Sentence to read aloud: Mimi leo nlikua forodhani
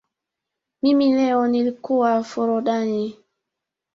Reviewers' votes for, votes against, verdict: 2, 1, accepted